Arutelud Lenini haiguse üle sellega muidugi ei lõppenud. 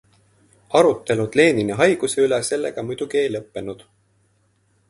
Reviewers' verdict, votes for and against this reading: accepted, 2, 0